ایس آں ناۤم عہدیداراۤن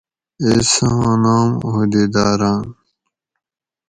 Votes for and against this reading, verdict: 2, 0, accepted